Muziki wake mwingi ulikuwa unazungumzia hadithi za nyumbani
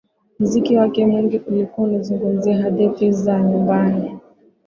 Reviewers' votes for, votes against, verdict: 14, 0, accepted